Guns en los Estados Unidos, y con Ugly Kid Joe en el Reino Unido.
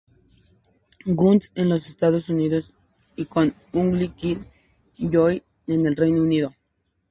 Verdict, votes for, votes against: accepted, 2, 0